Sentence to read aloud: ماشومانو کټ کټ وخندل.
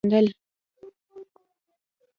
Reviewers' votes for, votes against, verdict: 1, 2, rejected